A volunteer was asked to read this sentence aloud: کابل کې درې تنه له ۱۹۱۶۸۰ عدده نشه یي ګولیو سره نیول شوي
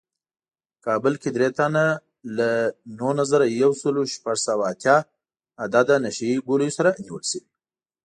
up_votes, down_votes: 0, 2